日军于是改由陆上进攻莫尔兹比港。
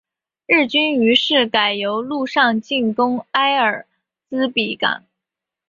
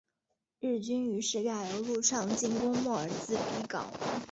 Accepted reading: first